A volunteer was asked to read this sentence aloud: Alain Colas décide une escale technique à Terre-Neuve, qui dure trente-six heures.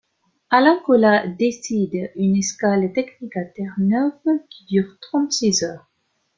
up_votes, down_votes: 2, 0